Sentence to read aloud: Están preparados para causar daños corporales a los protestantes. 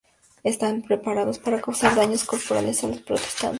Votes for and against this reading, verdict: 0, 2, rejected